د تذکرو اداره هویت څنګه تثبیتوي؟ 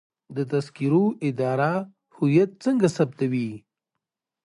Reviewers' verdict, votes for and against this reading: rejected, 1, 2